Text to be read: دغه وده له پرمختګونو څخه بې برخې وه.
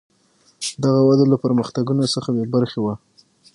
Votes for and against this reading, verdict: 3, 6, rejected